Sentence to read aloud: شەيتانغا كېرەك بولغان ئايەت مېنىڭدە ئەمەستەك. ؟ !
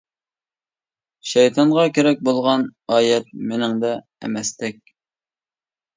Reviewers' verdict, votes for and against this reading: accepted, 2, 0